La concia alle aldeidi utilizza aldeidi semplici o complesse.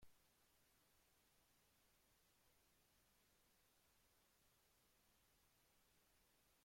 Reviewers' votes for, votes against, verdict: 0, 2, rejected